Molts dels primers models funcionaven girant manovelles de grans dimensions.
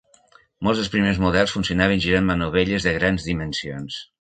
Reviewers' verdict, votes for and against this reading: accepted, 4, 0